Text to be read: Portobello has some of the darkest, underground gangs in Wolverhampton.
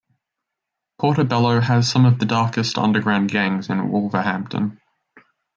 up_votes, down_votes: 1, 2